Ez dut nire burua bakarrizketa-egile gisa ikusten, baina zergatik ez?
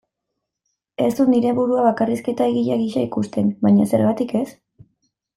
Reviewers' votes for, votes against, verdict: 2, 0, accepted